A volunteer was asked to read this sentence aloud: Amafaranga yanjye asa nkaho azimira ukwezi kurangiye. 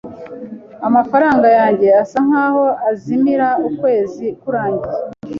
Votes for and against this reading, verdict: 3, 0, accepted